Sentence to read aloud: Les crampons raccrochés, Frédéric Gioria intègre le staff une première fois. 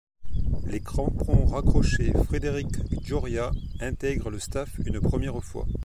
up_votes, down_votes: 2, 0